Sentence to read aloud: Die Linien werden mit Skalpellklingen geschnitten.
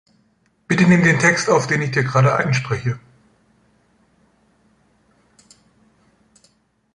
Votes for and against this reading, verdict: 0, 2, rejected